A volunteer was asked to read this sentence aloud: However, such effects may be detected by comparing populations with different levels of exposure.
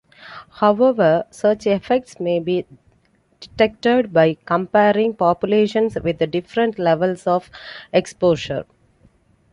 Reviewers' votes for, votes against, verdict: 2, 0, accepted